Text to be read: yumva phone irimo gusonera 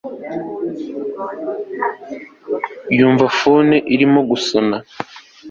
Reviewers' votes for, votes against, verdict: 1, 2, rejected